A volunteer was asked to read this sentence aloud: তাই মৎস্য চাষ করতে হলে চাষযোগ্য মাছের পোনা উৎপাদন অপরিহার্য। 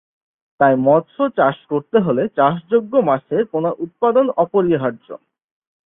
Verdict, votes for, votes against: accepted, 6, 0